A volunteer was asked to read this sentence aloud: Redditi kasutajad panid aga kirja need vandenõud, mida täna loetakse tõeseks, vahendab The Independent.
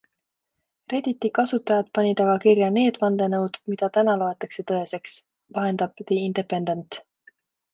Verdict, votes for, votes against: accepted, 2, 0